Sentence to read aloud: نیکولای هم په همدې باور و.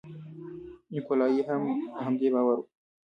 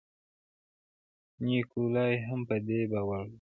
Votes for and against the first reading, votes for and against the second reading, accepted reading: 0, 2, 3, 0, second